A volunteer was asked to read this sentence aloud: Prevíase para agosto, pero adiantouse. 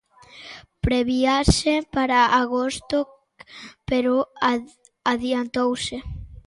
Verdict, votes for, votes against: rejected, 0, 2